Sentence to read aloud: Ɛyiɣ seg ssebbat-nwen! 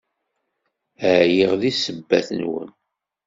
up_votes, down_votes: 2, 0